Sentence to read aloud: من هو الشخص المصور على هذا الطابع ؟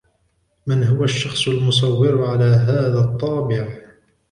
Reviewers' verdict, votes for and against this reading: rejected, 1, 2